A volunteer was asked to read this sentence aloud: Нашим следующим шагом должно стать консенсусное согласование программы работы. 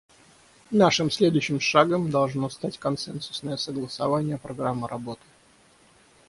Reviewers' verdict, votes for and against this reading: accepted, 6, 0